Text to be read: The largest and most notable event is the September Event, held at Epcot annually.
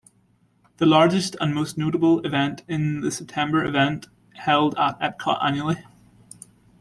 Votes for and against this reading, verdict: 1, 2, rejected